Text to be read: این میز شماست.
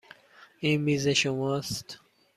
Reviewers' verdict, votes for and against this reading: accepted, 2, 0